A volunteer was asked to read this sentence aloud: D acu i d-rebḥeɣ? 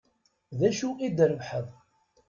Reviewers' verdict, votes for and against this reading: rejected, 0, 2